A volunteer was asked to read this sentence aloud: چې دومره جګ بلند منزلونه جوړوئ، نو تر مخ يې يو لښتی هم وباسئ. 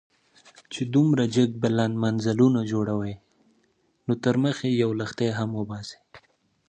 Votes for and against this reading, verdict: 2, 0, accepted